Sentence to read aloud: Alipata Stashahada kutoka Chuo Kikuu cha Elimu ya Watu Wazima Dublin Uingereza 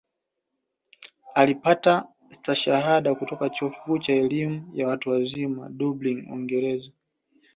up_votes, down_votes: 2, 0